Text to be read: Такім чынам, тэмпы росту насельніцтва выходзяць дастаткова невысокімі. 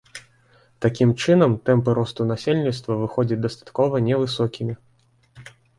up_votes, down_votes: 2, 0